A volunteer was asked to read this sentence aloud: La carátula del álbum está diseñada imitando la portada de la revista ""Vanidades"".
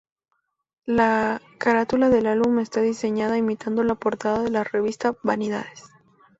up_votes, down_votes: 2, 0